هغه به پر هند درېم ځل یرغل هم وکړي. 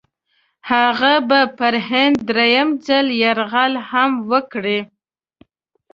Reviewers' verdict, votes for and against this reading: accepted, 2, 0